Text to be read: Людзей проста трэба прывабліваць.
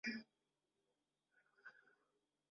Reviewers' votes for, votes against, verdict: 0, 2, rejected